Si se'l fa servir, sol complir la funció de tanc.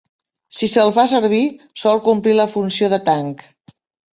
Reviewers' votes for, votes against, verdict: 3, 0, accepted